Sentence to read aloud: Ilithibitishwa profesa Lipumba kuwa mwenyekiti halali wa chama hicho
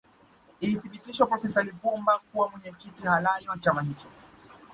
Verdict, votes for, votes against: rejected, 2, 3